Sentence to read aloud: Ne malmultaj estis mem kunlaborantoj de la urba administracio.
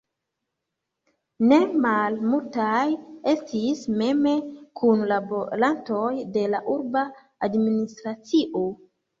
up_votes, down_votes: 1, 2